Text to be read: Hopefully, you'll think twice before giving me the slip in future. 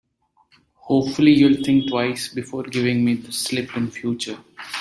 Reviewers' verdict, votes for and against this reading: rejected, 0, 2